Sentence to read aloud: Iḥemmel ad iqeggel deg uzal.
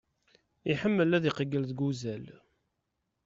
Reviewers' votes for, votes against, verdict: 2, 0, accepted